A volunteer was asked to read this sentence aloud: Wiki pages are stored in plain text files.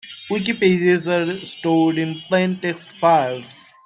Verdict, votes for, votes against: rejected, 1, 2